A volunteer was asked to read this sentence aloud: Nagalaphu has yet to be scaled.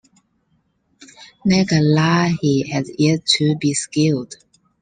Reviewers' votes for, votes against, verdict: 0, 2, rejected